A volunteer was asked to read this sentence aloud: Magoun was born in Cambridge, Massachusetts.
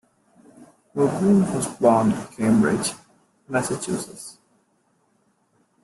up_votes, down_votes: 0, 2